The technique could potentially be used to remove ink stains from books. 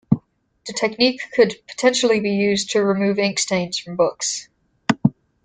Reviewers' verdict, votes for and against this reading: accepted, 2, 1